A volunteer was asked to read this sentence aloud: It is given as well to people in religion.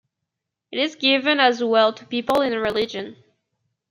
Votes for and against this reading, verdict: 2, 0, accepted